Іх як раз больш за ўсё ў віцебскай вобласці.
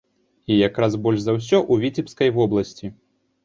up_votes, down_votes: 2, 1